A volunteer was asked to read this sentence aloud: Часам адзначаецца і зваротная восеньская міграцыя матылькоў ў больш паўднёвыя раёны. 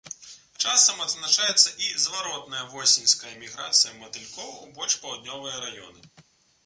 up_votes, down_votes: 2, 0